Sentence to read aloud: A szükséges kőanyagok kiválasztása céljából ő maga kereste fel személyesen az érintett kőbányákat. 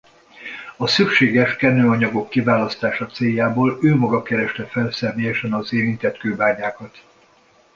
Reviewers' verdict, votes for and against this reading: rejected, 1, 2